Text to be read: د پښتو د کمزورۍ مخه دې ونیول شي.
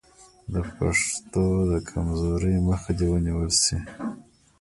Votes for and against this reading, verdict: 0, 2, rejected